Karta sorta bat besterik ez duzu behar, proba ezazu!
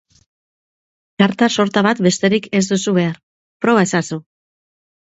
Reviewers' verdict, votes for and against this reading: accepted, 4, 0